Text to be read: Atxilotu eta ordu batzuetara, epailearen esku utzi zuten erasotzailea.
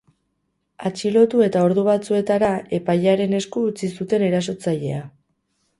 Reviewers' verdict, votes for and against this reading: accepted, 4, 0